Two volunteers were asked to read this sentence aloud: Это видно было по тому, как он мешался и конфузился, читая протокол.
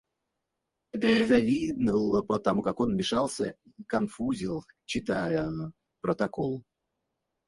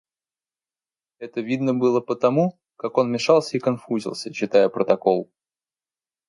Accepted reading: second